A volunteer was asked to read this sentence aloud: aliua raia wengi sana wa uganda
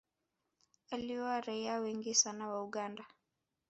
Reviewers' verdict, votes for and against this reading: rejected, 1, 3